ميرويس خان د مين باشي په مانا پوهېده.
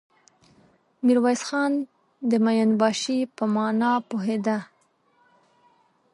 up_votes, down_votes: 2, 0